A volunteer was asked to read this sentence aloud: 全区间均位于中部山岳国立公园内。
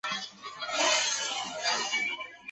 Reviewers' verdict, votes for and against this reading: rejected, 2, 2